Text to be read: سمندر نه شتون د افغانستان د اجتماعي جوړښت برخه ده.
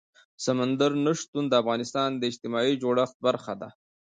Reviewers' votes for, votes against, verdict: 2, 0, accepted